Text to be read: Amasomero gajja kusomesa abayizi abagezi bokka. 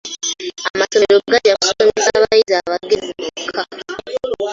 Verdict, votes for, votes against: rejected, 0, 2